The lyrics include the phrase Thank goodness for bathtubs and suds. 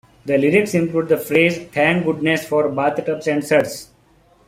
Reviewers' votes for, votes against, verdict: 0, 2, rejected